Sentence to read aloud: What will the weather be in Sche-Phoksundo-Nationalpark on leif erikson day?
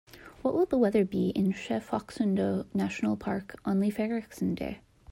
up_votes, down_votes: 2, 0